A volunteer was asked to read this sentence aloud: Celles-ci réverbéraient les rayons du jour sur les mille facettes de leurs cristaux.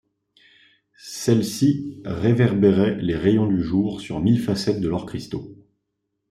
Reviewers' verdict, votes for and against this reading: rejected, 0, 2